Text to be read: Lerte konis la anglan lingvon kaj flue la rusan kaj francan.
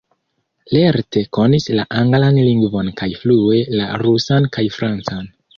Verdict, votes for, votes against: rejected, 0, 2